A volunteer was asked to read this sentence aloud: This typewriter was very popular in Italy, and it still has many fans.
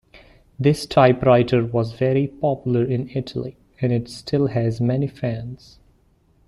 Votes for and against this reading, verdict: 2, 0, accepted